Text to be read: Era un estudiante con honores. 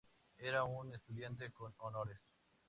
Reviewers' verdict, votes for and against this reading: accepted, 2, 0